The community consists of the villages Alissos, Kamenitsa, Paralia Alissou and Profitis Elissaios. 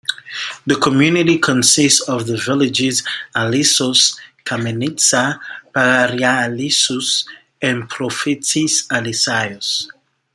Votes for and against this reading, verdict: 2, 1, accepted